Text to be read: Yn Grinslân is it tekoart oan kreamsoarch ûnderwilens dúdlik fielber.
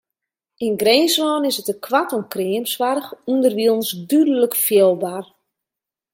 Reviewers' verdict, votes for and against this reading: rejected, 1, 2